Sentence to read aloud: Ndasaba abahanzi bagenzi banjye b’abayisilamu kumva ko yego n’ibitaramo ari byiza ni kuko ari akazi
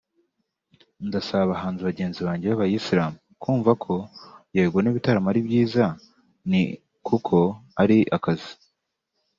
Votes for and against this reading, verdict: 2, 0, accepted